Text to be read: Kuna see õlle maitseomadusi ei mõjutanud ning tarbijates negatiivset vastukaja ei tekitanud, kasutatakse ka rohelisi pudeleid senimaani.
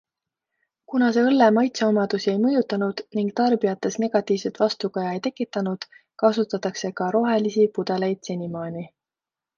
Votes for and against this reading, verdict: 2, 0, accepted